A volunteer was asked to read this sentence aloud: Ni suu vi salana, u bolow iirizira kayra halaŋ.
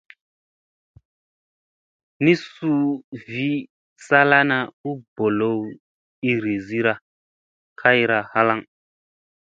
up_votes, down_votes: 2, 0